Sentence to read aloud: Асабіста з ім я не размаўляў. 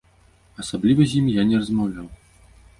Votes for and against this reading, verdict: 0, 2, rejected